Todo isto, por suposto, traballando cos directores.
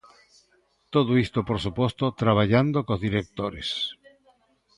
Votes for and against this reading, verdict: 2, 0, accepted